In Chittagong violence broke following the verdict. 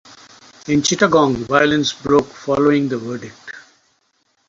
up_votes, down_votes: 4, 2